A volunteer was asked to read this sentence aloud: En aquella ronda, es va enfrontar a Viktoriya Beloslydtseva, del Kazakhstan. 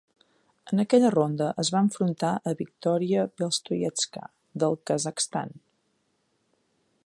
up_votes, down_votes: 2, 0